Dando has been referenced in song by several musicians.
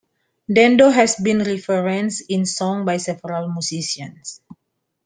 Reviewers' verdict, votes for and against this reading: accepted, 2, 0